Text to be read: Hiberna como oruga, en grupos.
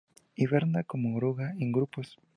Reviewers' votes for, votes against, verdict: 4, 0, accepted